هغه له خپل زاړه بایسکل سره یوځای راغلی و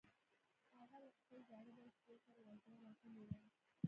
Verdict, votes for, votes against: rejected, 0, 2